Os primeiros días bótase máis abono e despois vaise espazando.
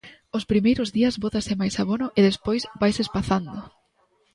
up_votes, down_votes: 2, 0